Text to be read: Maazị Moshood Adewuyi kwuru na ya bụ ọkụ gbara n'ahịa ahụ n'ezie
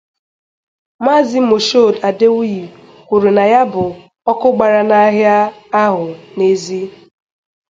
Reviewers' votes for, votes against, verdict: 2, 2, rejected